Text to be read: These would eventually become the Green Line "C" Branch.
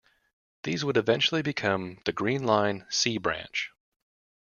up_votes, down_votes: 2, 0